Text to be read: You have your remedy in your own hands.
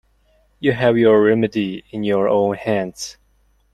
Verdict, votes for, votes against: accepted, 2, 0